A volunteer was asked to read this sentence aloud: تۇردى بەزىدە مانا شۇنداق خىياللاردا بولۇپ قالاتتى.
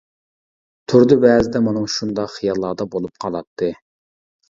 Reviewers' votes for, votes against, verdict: 2, 0, accepted